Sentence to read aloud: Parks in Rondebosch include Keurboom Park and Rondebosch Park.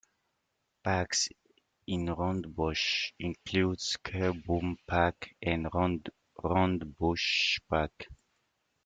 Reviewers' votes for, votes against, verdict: 0, 2, rejected